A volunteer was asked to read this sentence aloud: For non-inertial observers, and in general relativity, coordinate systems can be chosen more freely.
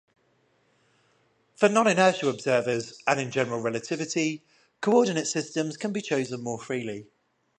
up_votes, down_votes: 10, 0